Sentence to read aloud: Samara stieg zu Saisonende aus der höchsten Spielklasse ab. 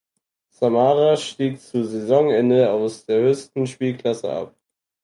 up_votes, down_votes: 4, 0